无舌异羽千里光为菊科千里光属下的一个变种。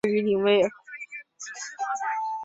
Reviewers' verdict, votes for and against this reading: rejected, 1, 3